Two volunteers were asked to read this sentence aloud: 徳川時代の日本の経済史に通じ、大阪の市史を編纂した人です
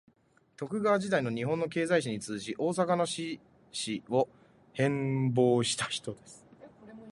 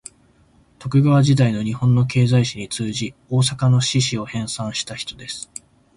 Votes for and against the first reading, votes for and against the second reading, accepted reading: 0, 7, 3, 0, second